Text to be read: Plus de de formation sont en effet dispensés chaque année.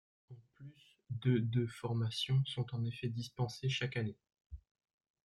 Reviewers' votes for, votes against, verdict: 1, 2, rejected